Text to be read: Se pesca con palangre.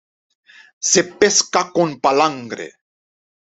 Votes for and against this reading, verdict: 2, 0, accepted